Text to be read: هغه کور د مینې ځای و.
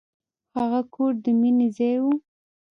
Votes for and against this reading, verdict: 2, 0, accepted